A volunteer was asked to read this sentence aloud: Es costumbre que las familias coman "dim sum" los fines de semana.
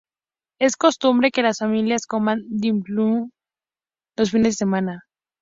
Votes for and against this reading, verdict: 0, 2, rejected